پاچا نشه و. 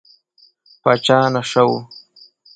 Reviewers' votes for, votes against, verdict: 2, 0, accepted